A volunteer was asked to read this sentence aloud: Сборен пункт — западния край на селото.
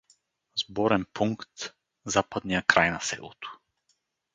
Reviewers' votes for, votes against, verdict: 4, 0, accepted